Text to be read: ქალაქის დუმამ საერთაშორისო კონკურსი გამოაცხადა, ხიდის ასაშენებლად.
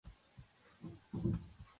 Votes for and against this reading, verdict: 1, 2, rejected